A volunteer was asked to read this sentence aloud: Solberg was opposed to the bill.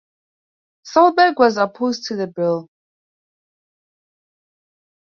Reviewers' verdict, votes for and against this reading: accepted, 4, 0